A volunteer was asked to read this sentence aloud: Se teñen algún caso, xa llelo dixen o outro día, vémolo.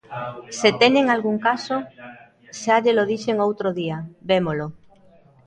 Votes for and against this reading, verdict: 2, 0, accepted